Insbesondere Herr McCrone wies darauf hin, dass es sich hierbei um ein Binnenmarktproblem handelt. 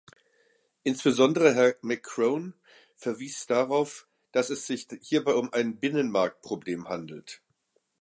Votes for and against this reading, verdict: 1, 2, rejected